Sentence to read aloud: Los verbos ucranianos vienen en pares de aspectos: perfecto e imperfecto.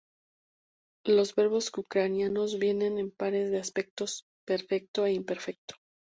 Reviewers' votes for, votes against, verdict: 4, 0, accepted